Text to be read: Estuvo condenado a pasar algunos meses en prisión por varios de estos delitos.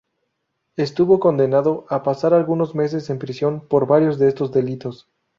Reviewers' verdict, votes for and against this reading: accepted, 2, 0